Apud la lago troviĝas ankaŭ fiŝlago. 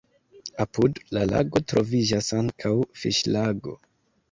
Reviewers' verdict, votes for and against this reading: accepted, 2, 1